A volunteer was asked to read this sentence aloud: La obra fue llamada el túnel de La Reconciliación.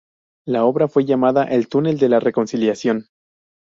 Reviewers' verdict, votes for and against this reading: accepted, 4, 0